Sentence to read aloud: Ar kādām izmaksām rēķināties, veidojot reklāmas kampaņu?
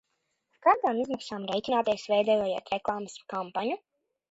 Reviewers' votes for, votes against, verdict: 1, 2, rejected